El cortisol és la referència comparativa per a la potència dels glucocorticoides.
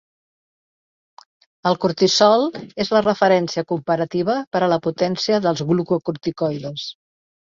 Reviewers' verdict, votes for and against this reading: accepted, 4, 1